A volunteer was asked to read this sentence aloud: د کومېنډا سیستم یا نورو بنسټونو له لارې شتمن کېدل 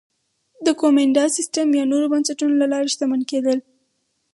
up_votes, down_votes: 2, 2